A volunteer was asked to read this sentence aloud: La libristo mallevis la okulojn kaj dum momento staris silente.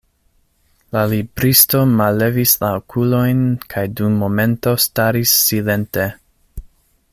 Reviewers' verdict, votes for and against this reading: accepted, 2, 0